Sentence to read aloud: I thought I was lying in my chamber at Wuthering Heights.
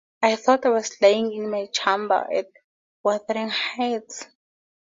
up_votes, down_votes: 4, 0